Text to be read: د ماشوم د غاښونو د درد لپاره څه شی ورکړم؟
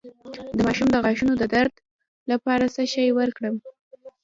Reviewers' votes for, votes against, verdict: 2, 1, accepted